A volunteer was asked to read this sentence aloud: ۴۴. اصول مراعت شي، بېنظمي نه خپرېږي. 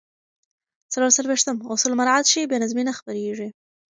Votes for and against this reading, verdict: 0, 2, rejected